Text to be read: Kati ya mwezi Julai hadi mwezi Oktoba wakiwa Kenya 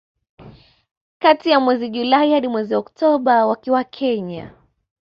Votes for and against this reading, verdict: 2, 0, accepted